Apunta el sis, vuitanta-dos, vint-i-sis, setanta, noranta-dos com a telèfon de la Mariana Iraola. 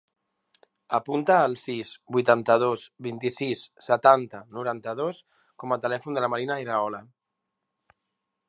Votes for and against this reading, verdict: 1, 2, rejected